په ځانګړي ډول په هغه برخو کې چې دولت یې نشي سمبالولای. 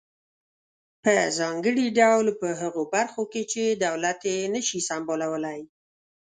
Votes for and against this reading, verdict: 2, 0, accepted